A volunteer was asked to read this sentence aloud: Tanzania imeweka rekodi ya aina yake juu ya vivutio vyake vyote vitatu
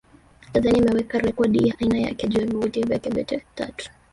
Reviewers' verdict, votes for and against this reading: rejected, 1, 2